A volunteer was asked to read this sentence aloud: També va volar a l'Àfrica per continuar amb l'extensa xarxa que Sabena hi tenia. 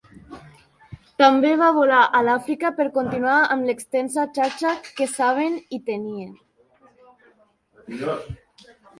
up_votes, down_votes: 0, 2